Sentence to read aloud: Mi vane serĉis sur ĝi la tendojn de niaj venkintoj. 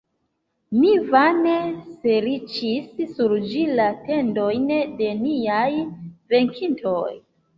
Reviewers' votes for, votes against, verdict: 0, 2, rejected